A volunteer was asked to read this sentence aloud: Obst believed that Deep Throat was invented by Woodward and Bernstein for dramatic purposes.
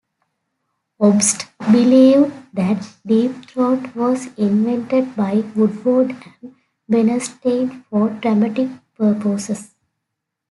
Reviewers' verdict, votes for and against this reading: rejected, 1, 2